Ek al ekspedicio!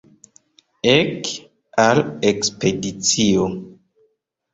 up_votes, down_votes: 1, 2